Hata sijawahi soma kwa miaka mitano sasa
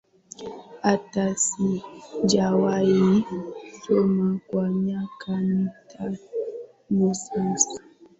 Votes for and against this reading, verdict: 12, 4, accepted